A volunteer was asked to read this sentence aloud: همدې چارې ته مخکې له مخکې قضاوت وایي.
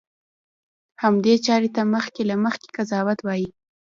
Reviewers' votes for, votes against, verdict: 1, 2, rejected